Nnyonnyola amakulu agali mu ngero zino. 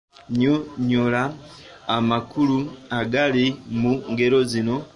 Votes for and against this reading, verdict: 2, 0, accepted